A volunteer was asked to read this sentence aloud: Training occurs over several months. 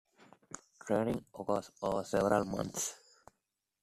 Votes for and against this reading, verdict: 1, 2, rejected